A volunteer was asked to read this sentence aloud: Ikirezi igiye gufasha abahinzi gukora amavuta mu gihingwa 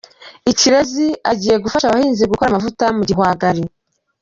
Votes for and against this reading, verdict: 1, 2, rejected